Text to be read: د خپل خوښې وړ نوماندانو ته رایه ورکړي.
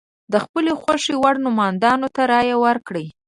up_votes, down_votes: 0, 2